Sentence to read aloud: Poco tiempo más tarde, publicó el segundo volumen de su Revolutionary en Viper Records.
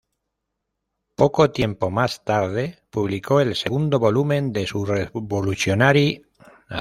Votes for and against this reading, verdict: 0, 2, rejected